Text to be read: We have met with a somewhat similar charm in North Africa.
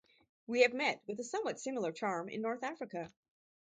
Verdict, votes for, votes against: accepted, 2, 0